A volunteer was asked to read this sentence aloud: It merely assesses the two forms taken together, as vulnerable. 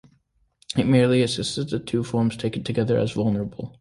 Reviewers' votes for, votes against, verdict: 2, 0, accepted